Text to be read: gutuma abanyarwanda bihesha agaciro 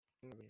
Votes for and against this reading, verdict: 1, 2, rejected